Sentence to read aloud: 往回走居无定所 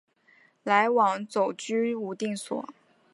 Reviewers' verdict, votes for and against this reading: rejected, 0, 2